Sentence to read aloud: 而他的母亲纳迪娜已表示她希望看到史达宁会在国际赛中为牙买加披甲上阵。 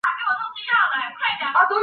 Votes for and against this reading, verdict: 0, 3, rejected